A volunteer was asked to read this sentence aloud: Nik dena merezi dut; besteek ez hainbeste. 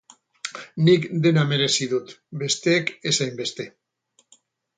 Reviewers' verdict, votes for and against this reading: rejected, 2, 2